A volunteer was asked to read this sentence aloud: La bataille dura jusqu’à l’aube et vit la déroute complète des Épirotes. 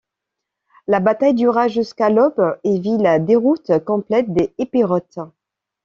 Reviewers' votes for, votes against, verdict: 2, 0, accepted